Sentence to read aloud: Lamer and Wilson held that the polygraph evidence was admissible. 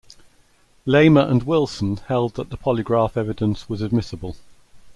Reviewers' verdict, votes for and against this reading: accepted, 2, 0